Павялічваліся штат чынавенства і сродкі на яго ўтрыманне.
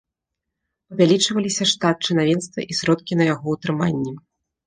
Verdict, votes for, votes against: accepted, 2, 0